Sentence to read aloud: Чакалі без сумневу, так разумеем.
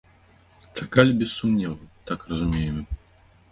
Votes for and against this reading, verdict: 2, 0, accepted